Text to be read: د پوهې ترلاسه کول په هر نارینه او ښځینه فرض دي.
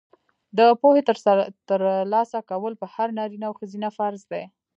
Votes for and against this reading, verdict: 1, 2, rejected